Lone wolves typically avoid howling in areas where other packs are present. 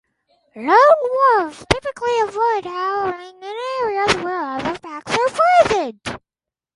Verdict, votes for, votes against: accepted, 4, 0